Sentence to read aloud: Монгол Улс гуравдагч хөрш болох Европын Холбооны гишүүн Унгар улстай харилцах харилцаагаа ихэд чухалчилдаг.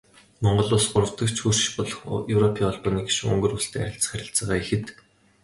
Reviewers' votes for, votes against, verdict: 0, 2, rejected